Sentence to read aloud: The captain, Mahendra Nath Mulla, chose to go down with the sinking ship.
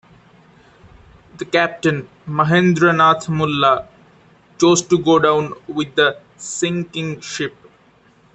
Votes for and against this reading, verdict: 2, 1, accepted